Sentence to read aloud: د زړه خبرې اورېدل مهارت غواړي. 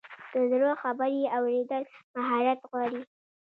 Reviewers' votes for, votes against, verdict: 2, 0, accepted